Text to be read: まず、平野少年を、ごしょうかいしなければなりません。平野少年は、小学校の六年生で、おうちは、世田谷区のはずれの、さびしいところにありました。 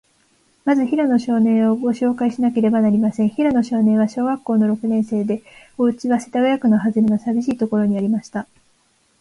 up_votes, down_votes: 2, 1